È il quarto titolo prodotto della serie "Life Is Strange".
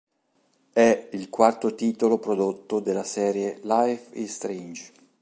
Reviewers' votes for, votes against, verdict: 4, 0, accepted